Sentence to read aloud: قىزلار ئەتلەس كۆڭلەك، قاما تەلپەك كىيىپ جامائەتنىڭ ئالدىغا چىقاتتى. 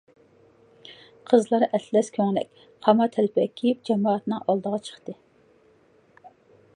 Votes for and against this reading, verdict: 0, 2, rejected